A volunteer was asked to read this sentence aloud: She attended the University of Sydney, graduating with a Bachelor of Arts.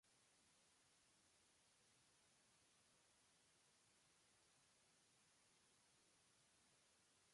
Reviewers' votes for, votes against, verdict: 0, 2, rejected